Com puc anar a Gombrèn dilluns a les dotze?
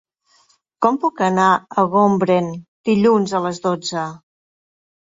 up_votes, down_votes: 0, 3